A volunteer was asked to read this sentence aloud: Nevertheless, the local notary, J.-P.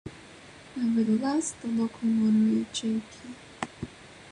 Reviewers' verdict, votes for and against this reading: rejected, 1, 3